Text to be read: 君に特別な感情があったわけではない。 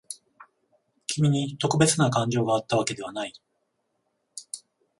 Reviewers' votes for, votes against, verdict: 14, 0, accepted